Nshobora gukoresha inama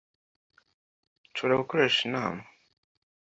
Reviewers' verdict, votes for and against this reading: accepted, 2, 0